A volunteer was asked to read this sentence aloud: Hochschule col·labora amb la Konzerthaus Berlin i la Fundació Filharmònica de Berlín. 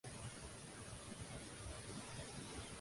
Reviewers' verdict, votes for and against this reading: rejected, 0, 2